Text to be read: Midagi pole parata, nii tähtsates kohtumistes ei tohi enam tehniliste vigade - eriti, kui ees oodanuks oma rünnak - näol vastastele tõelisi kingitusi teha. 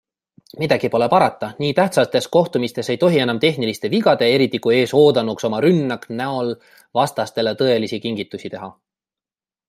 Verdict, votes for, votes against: rejected, 0, 2